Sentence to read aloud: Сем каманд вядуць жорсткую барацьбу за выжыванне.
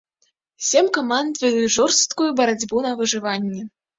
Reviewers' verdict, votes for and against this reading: rejected, 2, 3